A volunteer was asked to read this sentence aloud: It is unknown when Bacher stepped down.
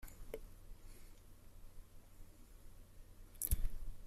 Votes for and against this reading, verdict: 0, 2, rejected